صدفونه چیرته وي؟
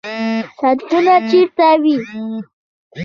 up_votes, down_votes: 1, 2